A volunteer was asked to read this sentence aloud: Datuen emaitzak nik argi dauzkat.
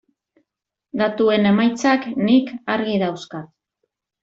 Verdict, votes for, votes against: accepted, 2, 0